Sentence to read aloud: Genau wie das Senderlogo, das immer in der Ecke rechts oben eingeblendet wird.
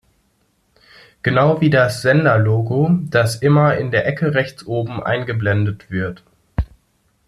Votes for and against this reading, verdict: 2, 0, accepted